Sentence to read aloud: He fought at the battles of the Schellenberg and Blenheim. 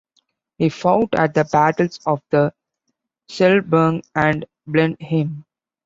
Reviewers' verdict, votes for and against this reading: rejected, 0, 2